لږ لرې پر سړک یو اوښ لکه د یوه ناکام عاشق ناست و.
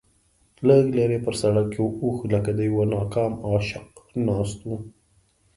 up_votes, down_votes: 2, 0